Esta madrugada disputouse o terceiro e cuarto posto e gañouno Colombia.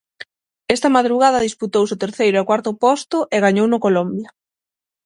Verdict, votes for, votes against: accepted, 6, 0